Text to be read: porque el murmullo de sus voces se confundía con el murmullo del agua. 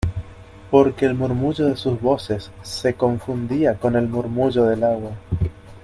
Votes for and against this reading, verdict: 2, 0, accepted